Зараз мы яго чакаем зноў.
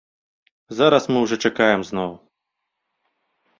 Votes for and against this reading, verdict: 0, 2, rejected